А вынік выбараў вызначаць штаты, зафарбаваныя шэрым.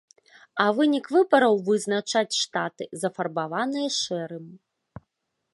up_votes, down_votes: 1, 2